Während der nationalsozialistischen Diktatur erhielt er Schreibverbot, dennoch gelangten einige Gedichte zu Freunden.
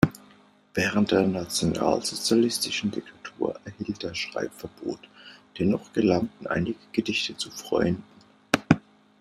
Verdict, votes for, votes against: accepted, 2, 1